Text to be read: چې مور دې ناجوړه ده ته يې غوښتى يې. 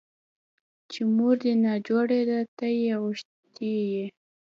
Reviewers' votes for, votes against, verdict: 0, 2, rejected